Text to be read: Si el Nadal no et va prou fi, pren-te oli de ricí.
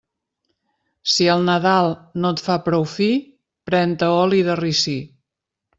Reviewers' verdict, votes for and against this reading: rejected, 0, 2